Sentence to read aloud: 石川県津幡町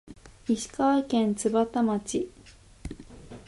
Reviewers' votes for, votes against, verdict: 2, 1, accepted